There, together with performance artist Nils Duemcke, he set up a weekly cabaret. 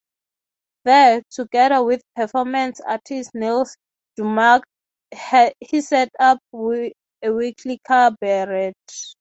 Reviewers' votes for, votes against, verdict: 0, 3, rejected